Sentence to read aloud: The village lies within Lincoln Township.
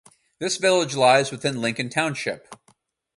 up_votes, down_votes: 0, 4